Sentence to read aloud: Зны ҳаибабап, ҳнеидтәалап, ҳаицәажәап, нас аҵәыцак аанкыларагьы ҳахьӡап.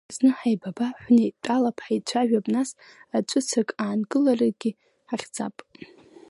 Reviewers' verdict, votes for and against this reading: accepted, 2, 1